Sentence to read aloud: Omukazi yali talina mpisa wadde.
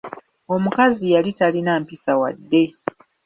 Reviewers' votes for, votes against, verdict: 2, 0, accepted